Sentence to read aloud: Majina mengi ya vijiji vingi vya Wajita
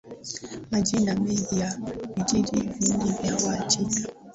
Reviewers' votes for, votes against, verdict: 2, 1, accepted